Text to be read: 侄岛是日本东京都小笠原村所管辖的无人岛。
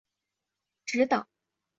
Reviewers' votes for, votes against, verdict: 2, 5, rejected